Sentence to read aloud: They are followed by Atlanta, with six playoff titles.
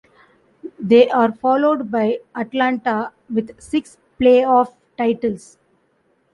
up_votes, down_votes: 2, 0